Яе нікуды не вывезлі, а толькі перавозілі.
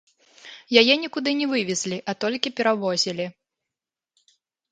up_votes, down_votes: 1, 2